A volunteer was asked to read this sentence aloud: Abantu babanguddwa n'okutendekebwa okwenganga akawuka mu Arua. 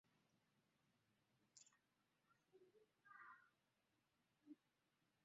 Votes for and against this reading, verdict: 0, 2, rejected